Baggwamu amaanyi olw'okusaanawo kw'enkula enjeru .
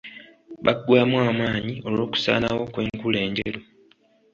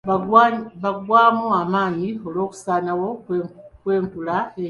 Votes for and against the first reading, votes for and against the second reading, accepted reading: 2, 1, 0, 2, first